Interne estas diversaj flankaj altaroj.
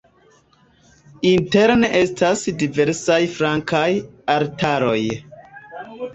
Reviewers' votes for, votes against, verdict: 0, 2, rejected